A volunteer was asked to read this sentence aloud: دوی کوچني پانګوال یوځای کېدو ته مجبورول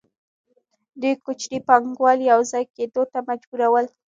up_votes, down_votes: 1, 2